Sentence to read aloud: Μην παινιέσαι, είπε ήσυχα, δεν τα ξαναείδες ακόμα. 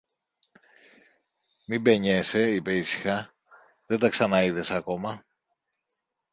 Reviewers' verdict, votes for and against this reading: accepted, 2, 0